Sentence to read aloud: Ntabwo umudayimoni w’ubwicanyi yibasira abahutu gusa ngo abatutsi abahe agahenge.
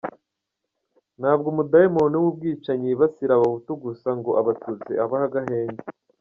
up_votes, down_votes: 2, 0